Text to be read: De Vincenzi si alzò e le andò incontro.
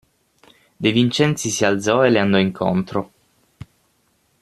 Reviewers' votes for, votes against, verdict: 6, 0, accepted